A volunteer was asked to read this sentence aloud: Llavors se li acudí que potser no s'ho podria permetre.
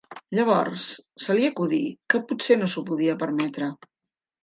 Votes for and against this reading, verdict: 1, 2, rejected